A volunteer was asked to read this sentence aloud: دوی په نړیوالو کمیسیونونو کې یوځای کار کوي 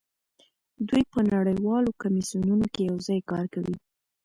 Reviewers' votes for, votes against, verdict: 2, 0, accepted